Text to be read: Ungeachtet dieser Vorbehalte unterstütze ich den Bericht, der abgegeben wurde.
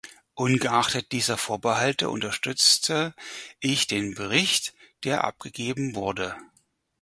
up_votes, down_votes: 2, 4